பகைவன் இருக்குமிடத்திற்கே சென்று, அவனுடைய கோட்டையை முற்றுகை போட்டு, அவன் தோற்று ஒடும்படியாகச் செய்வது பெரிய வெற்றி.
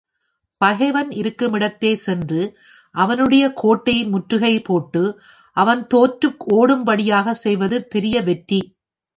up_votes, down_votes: 1, 2